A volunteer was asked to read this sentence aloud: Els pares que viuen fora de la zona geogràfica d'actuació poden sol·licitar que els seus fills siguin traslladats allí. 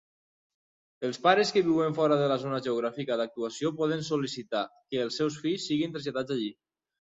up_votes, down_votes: 6, 0